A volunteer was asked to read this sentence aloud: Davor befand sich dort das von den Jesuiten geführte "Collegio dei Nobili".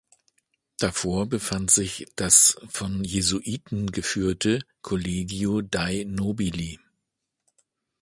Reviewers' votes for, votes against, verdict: 1, 2, rejected